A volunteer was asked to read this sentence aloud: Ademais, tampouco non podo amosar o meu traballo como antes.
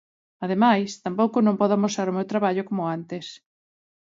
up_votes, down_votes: 2, 0